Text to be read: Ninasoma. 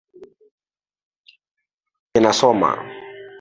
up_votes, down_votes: 2, 0